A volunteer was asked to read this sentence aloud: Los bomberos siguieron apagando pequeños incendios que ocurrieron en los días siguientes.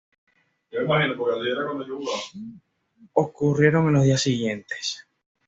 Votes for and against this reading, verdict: 0, 2, rejected